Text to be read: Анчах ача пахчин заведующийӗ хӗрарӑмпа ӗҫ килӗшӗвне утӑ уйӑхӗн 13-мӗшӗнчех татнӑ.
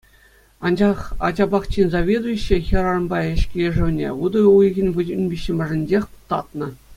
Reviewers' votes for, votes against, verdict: 0, 2, rejected